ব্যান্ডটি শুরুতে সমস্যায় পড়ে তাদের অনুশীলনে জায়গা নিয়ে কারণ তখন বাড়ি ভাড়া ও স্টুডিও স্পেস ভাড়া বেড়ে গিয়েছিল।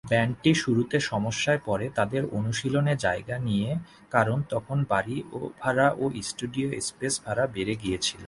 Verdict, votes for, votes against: accepted, 2, 0